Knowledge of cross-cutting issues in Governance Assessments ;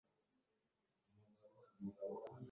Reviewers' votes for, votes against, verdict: 0, 2, rejected